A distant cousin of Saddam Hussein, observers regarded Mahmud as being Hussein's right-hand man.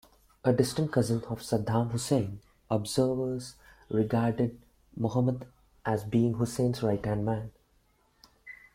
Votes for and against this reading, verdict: 0, 2, rejected